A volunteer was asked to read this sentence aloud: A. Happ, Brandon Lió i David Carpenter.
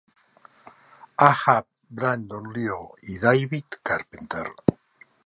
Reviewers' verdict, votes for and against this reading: accepted, 2, 0